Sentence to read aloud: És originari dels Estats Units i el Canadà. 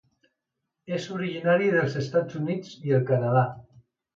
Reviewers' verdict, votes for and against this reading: accepted, 2, 0